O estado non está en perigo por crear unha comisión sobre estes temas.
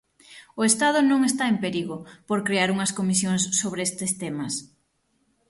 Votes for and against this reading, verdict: 0, 6, rejected